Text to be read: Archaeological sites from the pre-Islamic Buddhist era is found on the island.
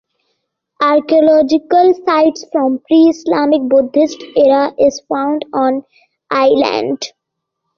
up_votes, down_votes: 1, 2